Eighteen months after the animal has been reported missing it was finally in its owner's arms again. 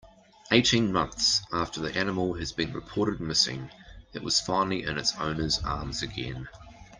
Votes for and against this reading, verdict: 2, 0, accepted